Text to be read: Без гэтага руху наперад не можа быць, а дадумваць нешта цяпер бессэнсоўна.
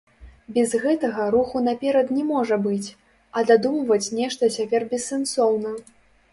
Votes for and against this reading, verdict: 0, 3, rejected